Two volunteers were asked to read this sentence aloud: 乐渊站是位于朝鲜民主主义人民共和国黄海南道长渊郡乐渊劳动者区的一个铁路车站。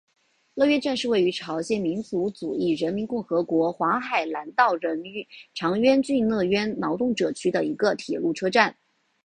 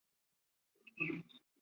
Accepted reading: first